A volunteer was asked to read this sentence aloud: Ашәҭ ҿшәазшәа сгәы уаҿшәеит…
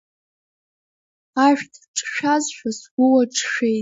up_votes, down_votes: 1, 2